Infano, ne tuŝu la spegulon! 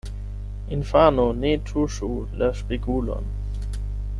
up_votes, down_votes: 0, 8